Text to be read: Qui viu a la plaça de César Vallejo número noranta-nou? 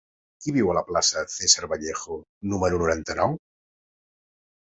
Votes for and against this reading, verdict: 0, 2, rejected